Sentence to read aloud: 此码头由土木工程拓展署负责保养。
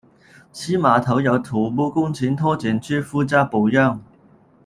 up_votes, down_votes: 0, 2